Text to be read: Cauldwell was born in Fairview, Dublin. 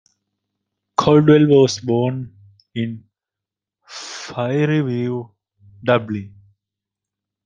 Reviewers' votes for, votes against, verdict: 0, 2, rejected